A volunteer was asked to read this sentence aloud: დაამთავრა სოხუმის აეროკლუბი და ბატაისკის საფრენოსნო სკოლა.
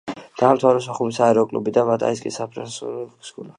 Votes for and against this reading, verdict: 0, 2, rejected